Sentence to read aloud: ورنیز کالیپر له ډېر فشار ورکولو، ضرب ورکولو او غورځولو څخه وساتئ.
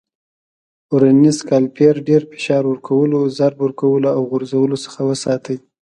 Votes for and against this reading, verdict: 2, 0, accepted